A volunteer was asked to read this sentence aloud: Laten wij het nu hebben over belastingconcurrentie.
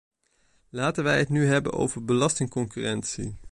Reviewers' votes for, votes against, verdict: 2, 0, accepted